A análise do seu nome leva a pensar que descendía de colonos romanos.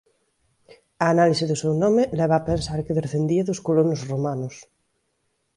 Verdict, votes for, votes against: accepted, 2, 0